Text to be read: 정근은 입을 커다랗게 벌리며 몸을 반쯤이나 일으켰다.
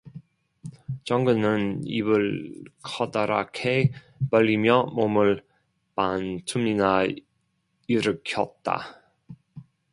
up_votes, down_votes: 1, 2